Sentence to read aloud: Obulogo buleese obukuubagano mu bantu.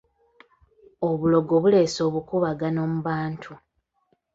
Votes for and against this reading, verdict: 0, 3, rejected